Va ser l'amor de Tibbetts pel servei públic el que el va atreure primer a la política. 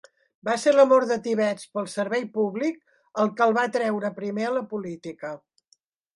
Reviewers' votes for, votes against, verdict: 1, 2, rejected